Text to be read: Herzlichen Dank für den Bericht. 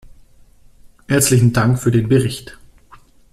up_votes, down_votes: 2, 1